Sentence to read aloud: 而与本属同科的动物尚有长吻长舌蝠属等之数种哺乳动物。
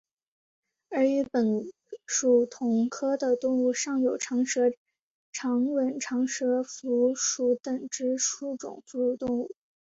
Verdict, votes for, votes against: accepted, 4, 0